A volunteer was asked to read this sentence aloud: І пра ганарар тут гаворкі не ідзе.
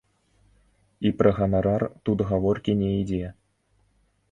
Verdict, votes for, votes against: accepted, 2, 0